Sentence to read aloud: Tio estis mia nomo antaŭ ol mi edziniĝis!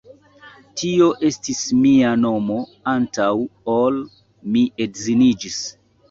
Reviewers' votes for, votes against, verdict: 2, 0, accepted